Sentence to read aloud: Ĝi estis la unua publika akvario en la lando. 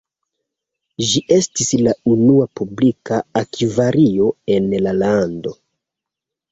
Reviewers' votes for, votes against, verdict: 1, 2, rejected